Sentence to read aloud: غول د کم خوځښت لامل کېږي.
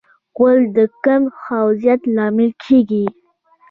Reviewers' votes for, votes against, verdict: 2, 0, accepted